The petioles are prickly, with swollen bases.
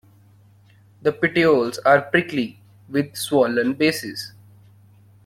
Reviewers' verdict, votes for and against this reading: accepted, 2, 0